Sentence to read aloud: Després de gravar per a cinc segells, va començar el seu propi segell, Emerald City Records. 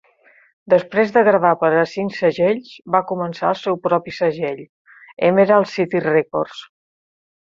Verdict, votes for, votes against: rejected, 1, 2